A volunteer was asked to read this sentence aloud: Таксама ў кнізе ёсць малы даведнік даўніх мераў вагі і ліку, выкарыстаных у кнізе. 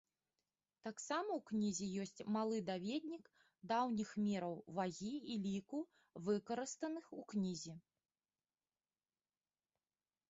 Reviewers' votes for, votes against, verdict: 2, 0, accepted